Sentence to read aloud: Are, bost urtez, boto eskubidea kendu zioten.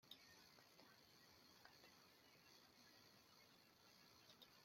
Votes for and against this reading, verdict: 0, 2, rejected